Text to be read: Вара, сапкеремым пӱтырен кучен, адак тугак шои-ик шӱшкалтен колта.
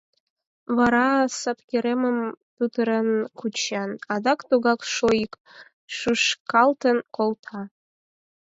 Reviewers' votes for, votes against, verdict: 2, 4, rejected